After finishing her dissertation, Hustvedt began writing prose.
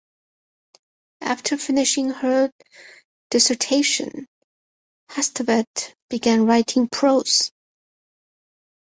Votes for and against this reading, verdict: 4, 0, accepted